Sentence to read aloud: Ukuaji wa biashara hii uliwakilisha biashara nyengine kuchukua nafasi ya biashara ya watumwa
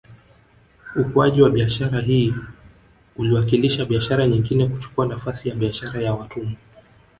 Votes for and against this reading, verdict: 0, 2, rejected